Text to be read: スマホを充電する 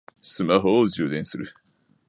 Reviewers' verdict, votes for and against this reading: accepted, 2, 0